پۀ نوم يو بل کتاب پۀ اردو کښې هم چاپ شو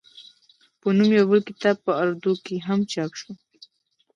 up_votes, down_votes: 1, 2